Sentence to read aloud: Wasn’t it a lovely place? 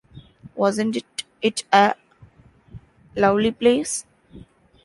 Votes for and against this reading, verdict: 0, 2, rejected